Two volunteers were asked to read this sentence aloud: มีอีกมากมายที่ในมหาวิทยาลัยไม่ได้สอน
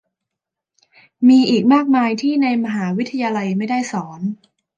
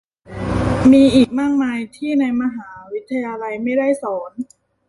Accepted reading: first